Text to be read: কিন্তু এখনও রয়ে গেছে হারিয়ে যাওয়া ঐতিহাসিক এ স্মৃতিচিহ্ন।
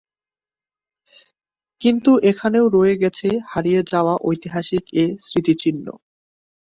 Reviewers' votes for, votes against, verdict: 1, 2, rejected